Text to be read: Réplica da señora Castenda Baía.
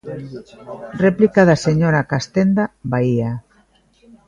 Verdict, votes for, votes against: accepted, 2, 0